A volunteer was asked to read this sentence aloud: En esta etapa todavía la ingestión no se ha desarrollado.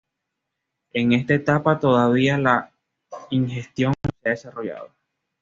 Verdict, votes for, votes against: accepted, 2, 0